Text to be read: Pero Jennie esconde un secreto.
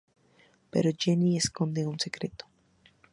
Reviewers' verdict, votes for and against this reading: accepted, 4, 0